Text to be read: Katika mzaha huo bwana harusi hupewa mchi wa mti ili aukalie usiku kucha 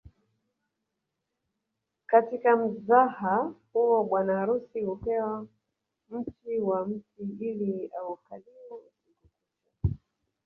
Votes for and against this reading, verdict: 2, 1, accepted